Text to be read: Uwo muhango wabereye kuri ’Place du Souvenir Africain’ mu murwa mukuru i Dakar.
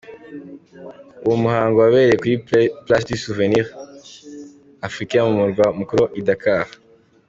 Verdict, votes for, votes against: accepted, 2, 0